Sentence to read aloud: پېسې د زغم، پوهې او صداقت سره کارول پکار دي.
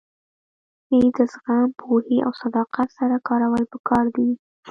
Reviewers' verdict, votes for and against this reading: rejected, 0, 2